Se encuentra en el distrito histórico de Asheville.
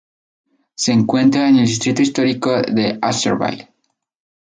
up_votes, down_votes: 2, 0